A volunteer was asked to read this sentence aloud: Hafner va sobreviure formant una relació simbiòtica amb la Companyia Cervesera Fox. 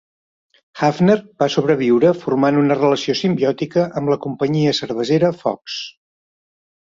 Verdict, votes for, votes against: accepted, 3, 0